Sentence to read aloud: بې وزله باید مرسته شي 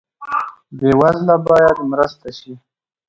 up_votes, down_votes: 2, 0